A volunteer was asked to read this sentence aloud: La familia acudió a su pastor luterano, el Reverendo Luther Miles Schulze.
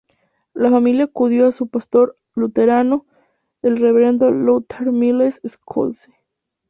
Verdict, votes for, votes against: rejected, 0, 2